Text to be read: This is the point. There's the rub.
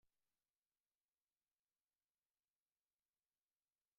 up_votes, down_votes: 0, 2